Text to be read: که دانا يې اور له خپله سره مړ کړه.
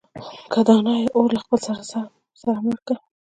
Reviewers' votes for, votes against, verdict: 1, 2, rejected